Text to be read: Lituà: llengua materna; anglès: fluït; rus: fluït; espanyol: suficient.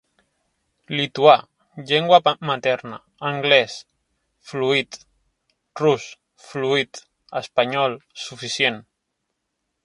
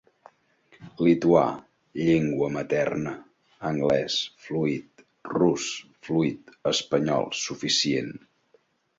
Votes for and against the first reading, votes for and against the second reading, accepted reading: 0, 2, 2, 0, second